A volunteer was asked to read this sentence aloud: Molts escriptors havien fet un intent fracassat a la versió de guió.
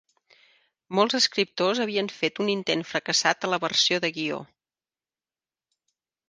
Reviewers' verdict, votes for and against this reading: accepted, 4, 0